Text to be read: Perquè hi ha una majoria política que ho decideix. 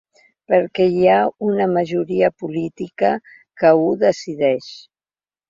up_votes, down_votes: 2, 0